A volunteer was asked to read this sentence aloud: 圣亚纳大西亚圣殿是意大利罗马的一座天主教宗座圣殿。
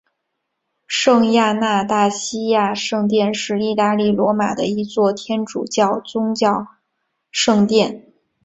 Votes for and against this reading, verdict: 5, 1, accepted